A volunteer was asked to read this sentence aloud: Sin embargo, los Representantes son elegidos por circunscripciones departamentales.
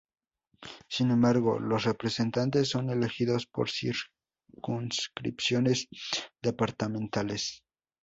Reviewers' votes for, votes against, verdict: 0, 4, rejected